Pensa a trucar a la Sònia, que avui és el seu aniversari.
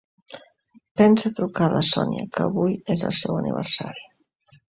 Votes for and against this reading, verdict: 3, 0, accepted